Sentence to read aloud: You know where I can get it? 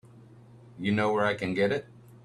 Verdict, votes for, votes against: accepted, 3, 0